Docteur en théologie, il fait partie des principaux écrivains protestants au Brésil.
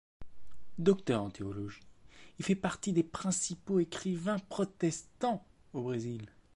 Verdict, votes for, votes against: accepted, 2, 1